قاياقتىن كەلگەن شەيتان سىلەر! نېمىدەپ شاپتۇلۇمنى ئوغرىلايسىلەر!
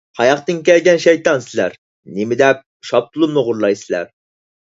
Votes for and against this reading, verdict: 4, 0, accepted